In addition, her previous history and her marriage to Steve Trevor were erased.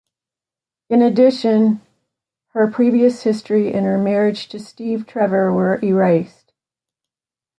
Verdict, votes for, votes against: accepted, 2, 0